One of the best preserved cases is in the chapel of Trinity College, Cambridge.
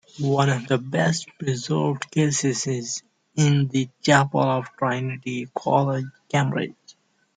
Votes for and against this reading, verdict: 2, 0, accepted